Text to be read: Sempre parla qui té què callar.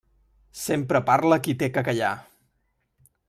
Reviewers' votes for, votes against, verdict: 3, 0, accepted